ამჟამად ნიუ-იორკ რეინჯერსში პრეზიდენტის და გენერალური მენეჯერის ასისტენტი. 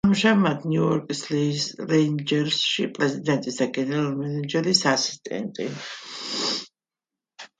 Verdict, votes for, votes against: rejected, 1, 2